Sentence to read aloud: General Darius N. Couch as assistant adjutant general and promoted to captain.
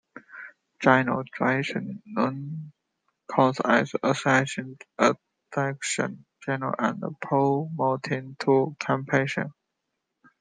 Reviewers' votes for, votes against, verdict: 1, 2, rejected